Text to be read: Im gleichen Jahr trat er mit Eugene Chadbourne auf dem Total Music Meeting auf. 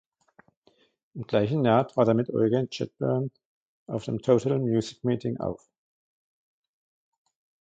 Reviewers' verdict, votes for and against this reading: accepted, 2, 0